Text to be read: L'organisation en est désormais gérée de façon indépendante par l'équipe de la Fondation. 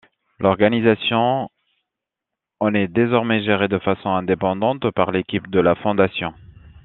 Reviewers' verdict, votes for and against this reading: accepted, 2, 0